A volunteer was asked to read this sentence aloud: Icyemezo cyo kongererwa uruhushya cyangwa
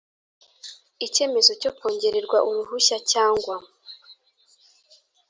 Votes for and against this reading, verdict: 3, 0, accepted